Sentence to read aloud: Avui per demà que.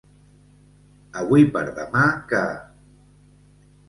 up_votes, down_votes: 2, 0